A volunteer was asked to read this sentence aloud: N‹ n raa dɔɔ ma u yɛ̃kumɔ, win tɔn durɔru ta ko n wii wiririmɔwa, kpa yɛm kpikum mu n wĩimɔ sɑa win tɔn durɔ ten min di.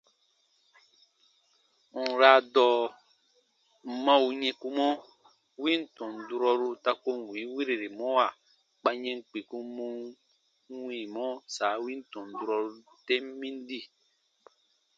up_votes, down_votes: 0, 2